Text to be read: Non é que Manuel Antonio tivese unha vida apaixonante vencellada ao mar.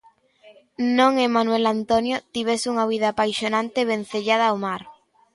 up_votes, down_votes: 1, 2